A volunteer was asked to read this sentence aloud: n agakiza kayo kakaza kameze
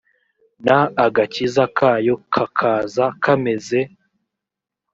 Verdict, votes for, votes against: accepted, 2, 0